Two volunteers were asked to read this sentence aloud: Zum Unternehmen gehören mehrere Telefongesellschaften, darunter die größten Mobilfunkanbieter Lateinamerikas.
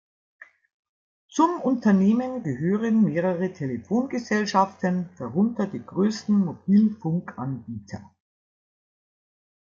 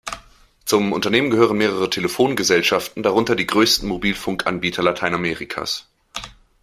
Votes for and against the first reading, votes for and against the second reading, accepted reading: 0, 2, 2, 0, second